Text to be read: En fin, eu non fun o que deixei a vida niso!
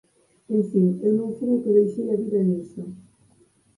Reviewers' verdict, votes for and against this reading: rejected, 2, 4